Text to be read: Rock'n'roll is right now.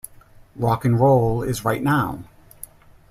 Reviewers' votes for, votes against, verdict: 2, 0, accepted